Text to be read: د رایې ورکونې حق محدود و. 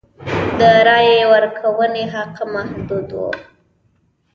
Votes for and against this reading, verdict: 1, 2, rejected